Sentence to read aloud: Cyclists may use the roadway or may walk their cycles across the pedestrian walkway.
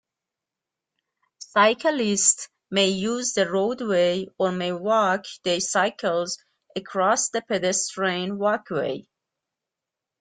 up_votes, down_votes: 2, 0